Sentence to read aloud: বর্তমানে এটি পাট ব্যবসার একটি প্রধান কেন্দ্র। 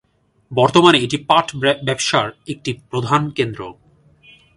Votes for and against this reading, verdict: 1, 2, rejected